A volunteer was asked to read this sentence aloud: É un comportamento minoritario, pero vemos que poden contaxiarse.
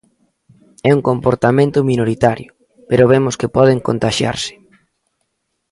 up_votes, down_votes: 2, 0